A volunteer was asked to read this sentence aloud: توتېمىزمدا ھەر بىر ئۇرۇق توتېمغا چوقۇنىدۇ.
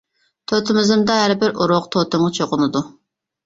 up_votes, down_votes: 0, 2